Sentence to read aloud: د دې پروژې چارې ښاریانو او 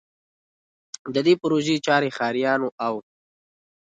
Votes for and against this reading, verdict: 2, 1, accepted